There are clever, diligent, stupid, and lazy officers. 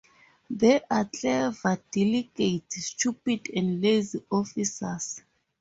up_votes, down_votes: 2, 0